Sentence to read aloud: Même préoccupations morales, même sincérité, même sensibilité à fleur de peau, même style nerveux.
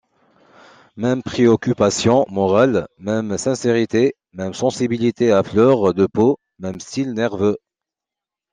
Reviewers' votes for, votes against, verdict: 2, 0, accepted